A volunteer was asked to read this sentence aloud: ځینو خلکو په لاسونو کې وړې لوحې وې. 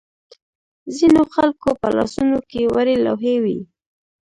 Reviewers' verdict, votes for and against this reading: accepted, 2, 0